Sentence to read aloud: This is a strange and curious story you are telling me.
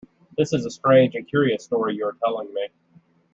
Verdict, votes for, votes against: accepted, 2, 0